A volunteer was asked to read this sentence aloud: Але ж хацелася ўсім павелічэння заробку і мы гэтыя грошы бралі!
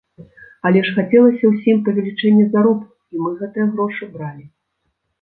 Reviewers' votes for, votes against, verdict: 1, 2, rejected